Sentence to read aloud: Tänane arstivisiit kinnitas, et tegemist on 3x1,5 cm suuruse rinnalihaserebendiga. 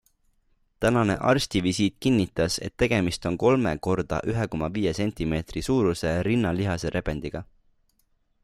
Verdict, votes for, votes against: rejected, 0, 2